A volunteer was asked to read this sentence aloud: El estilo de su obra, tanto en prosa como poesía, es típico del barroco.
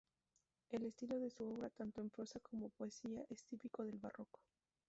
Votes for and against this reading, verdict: 4, 0, accepted